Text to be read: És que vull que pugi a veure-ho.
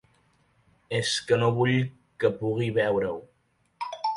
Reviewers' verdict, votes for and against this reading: rejected, 1, 4